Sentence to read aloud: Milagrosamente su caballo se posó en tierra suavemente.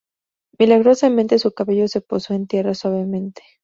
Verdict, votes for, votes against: accepted, 2, 0